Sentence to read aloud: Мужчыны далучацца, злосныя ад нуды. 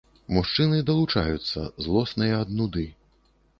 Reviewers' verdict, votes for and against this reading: rejected, 1, 2